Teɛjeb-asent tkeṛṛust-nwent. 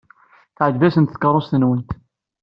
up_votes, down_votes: 2, 0